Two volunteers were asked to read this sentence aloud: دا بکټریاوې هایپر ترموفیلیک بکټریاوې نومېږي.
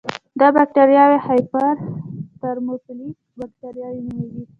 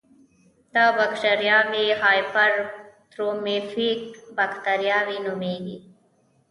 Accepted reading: first